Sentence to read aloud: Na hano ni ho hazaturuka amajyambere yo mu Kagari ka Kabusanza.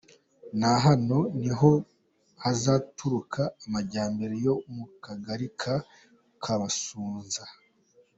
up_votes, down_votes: 2, 1